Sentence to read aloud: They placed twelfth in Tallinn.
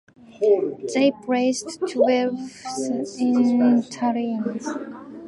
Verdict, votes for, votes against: accepted, 2, 1